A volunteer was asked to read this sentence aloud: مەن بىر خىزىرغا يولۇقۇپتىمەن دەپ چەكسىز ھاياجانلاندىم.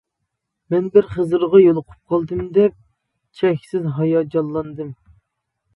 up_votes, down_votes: 0, 2